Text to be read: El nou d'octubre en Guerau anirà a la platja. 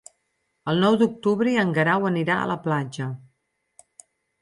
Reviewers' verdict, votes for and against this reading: accepted, 8, 0